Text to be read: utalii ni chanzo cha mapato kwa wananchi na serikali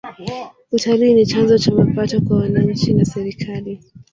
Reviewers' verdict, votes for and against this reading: rejected, 0, 2